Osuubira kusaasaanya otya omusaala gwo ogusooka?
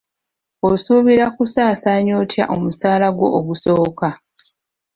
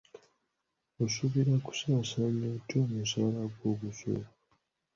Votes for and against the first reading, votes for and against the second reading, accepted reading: 2, 0, 0, 2, first